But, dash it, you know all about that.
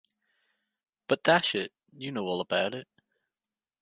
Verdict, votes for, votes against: rejected, 1, 2